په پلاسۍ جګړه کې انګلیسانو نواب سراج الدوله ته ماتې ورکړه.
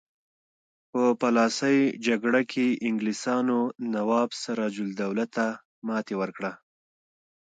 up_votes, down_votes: 2, 0